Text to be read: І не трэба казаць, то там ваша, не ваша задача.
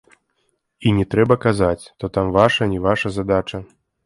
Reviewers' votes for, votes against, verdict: 2, 0, accepted